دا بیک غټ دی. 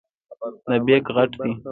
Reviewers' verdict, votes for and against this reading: rejected, 1, 2